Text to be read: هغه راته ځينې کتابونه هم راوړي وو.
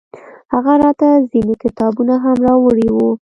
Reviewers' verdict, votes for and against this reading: accepted, 2, 0